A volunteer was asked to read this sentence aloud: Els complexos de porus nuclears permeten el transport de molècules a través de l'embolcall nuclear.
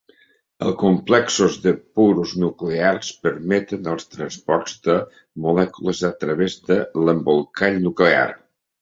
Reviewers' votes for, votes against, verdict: 1, 2, rejected